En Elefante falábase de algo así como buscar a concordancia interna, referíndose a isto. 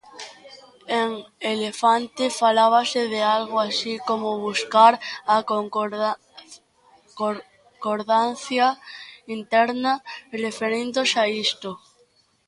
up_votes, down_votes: 0, 2